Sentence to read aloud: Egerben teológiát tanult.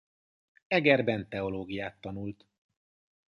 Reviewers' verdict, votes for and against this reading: accepted, 2, 1